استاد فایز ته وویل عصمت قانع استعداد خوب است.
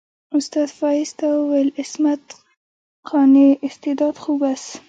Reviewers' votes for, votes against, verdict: 1, 2, rejected